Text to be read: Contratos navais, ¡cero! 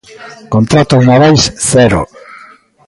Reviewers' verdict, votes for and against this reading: accepted, 2, 0